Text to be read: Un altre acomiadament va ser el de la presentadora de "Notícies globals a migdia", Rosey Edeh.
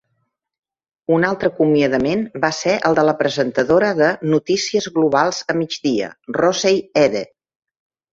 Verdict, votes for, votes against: accepted, 3, 0